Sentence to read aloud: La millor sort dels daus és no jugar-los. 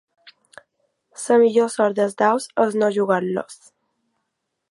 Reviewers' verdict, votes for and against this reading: rejected, 0, 2